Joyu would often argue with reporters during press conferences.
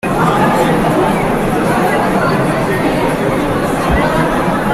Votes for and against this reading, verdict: 0, 2, rejected